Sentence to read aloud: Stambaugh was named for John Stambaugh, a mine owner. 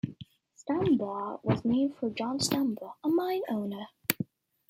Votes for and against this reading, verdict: 2, 0, accepted